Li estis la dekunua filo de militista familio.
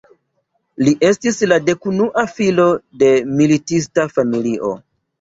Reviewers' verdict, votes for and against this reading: accepted, 2, 0